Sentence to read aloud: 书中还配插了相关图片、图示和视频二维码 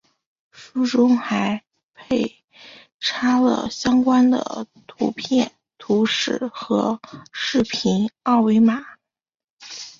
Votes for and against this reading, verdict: 1, 3, rejected